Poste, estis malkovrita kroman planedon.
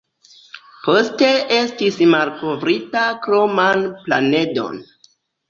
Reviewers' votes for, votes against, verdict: 1, 2, rejected